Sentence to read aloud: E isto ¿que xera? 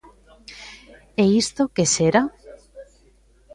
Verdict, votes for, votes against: accepted, 2, 0